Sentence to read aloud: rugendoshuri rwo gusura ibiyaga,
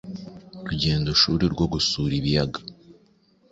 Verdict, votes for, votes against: accepted, 3, 0